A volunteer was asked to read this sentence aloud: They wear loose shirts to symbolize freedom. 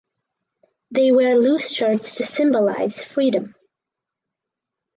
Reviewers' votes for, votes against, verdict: 4, 0, accepted